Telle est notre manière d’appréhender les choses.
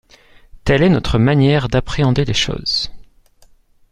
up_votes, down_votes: 2, 0